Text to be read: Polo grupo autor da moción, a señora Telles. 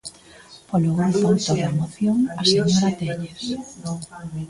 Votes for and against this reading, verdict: 0, 2, rejected